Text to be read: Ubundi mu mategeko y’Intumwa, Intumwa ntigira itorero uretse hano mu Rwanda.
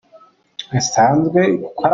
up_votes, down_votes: 0, 2